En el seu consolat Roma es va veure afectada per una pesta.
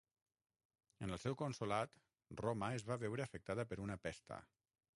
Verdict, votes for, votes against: rejected, 3, 6